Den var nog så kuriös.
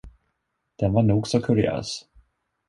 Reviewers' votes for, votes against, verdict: 2, 0, accepted